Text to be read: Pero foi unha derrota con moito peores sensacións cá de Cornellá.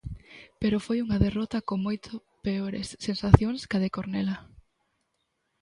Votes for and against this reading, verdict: 1, 2, rejected